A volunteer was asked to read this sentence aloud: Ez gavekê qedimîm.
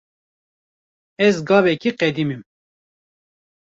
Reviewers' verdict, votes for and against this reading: rejected, 1, 2